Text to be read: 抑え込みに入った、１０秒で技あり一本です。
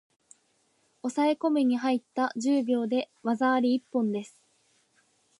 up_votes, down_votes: 0, 2